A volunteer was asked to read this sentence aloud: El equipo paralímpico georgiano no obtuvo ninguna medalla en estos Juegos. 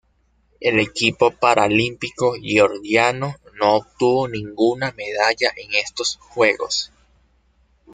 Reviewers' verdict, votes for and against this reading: accepted, 2, 0